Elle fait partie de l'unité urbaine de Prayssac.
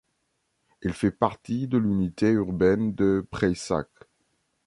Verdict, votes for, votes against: accepted, 2, 0